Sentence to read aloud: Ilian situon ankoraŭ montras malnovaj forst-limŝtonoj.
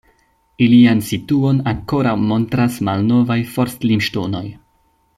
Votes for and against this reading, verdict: 2, 0, accepted